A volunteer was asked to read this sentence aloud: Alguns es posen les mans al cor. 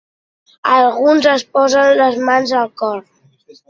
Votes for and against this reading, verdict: 2, 0, accepted